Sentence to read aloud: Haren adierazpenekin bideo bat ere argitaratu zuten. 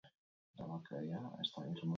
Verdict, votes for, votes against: rejected, 0, 6